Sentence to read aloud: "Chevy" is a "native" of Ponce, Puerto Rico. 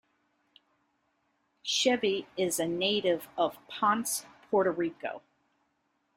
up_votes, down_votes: 2, 0